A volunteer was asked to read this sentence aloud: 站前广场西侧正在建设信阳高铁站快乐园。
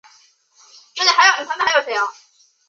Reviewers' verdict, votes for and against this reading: rejected, 0, 2